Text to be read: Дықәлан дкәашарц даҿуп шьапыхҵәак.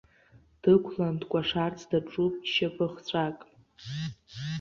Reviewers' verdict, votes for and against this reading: rejected, 0, 2